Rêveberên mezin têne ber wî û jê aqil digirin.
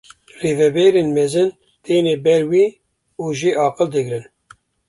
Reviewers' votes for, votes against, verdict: 2, 0, accepted